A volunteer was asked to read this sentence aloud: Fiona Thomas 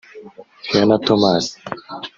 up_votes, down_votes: 0, 2